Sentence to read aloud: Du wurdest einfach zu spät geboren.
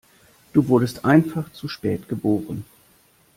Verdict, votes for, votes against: accepted, 2, 0